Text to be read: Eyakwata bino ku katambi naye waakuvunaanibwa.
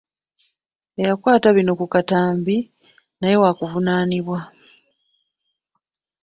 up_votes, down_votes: 0, 2